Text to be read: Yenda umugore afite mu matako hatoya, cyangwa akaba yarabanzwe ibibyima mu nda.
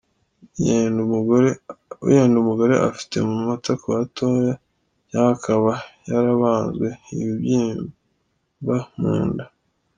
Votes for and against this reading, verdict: 1, 2, rejected